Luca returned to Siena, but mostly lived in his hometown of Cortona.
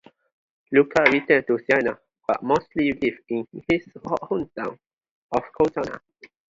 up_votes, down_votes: 0, 2